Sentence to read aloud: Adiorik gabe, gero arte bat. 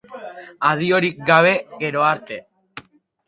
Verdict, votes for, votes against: rejected, 2, 2